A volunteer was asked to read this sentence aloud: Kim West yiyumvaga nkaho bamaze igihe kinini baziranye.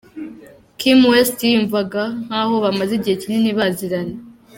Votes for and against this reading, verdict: 2, 0, accepted